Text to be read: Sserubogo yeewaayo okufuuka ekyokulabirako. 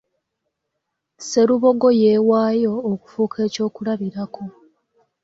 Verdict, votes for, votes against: accepted, 2, 0